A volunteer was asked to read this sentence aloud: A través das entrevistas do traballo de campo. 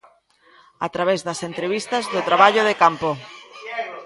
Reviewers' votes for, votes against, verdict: 0, 2, rejected